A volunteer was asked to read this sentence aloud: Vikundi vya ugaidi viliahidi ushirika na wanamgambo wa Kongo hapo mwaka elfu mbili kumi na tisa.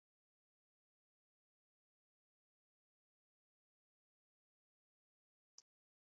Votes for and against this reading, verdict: 0, 5, rejected